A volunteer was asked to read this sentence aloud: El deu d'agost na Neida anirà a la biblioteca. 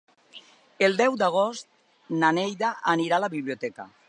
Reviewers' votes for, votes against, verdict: 2, 0, accepted